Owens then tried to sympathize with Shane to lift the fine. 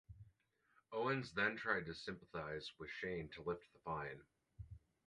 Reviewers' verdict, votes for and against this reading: rejected, 0, 2